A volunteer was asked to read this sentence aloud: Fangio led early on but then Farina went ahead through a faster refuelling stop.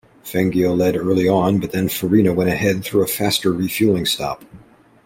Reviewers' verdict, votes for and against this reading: accepted, 2, 0